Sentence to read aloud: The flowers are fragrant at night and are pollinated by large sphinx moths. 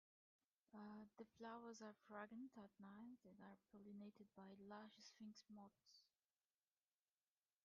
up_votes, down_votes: 1, 2